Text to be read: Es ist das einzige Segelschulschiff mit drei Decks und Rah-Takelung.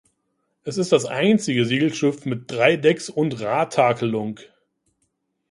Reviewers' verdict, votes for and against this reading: rejected, 0, 2